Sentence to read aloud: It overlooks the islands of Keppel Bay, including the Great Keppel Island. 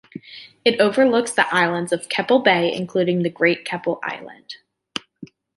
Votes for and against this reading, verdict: 2, 0, accepted